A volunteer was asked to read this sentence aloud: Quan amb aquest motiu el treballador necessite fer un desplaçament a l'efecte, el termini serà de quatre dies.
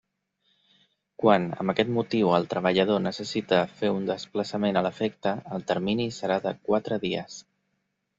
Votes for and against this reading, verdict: 2, 0, accepted